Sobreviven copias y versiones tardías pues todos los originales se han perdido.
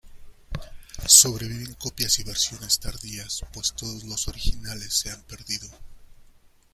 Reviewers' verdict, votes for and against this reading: rejected, 1, 2